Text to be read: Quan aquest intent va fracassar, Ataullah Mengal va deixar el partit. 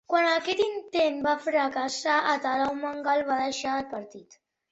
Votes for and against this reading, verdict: 1, 2, rejected